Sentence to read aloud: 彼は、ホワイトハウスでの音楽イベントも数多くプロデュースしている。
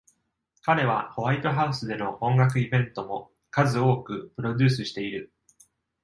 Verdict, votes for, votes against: accepted, 2, 0